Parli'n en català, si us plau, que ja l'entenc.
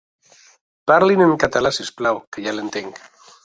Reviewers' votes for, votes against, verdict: 2, 0, accepted